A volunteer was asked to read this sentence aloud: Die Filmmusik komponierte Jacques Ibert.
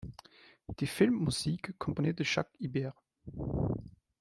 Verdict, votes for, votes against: accepted, 2, 0